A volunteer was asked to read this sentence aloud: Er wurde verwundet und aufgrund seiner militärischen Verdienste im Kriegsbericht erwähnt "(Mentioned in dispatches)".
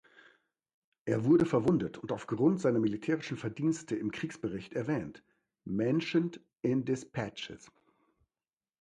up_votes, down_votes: 2, 0